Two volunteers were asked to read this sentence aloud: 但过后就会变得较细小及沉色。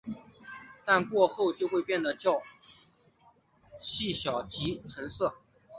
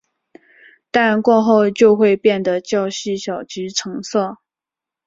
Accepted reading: second